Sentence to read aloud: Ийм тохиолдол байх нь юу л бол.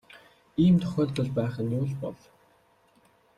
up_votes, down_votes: 2, 0